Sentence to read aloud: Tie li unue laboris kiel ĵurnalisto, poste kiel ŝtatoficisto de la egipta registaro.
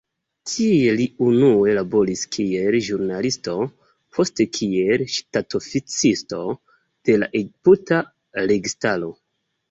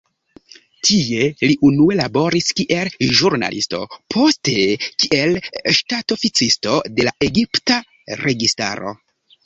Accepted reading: second